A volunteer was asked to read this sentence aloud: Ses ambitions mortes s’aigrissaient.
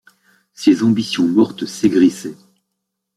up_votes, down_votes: 2, 0